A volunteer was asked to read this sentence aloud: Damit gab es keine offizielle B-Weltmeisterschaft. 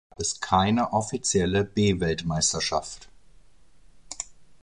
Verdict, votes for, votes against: rejected, 0, 2